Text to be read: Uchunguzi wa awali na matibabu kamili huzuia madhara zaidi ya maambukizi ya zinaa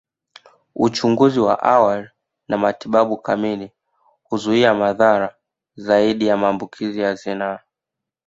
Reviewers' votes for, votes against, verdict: 1, 2, rejected